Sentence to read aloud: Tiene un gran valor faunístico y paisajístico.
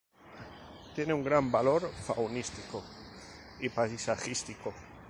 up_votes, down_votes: 6, 0